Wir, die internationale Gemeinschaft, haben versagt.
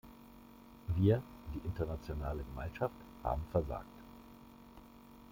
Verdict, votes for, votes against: rejected, 1, 2